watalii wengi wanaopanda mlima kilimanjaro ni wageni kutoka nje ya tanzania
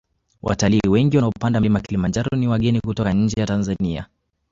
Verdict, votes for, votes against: rejected, 1, 2